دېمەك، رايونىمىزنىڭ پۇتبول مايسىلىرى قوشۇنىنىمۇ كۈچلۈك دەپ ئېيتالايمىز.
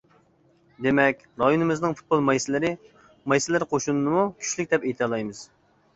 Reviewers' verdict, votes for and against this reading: rejected, 0, 2